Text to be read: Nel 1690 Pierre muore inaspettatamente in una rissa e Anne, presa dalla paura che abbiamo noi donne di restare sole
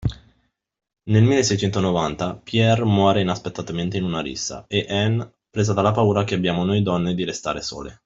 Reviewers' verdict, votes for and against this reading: rejected, 0, 2